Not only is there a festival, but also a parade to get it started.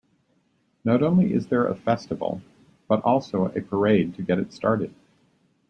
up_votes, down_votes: 2, 0